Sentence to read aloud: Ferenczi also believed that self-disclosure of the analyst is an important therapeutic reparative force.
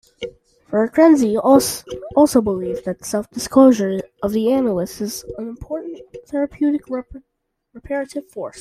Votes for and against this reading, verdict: 1, 2, rejected